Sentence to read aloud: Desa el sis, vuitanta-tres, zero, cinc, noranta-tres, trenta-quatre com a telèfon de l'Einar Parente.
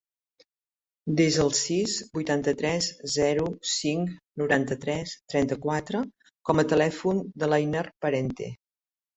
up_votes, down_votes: 2, 0